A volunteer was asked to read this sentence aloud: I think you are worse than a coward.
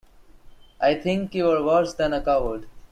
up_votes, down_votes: 2, 0